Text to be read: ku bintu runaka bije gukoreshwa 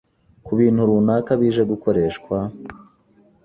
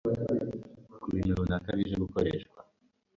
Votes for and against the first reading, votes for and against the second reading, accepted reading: 2, 0, 0, 2, first